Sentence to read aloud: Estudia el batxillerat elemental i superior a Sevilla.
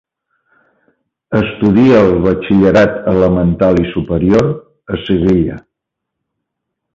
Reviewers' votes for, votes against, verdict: 2, 0, accepted